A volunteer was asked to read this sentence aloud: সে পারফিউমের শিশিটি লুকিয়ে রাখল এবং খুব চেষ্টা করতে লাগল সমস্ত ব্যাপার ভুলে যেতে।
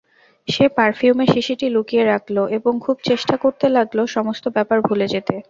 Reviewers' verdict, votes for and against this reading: rejected, 0, 2